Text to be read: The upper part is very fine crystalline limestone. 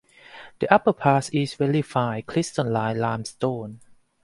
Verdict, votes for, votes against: rejected, 0, 4